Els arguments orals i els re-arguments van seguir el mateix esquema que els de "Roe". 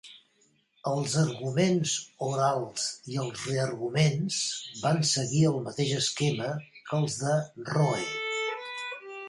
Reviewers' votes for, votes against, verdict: 2, 1, accepted